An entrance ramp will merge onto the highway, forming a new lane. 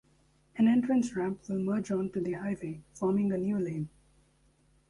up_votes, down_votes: 1, 2